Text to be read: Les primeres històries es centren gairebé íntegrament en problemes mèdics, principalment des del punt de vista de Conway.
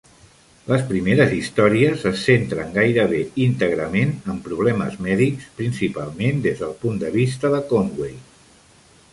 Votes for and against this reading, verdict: 2, 0, accepted